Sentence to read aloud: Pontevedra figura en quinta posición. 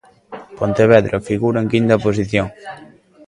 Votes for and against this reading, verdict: 2, 0, accepted